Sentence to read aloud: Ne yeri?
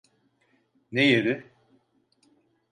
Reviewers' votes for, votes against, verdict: 0, 2, rejected